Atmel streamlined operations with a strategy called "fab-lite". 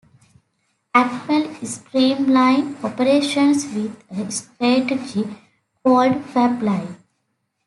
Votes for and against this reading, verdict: 2, 0, accepted